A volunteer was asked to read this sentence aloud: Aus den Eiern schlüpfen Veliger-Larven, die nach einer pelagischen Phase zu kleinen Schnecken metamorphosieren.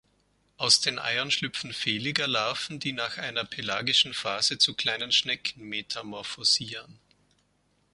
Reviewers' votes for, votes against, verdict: 2, 0, accepted